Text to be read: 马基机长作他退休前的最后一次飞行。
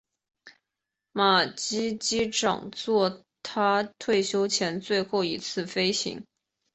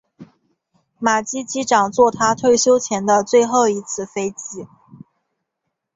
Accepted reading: first